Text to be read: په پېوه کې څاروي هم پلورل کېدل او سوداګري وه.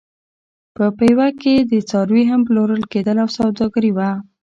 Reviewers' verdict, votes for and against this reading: accepted, 2, 1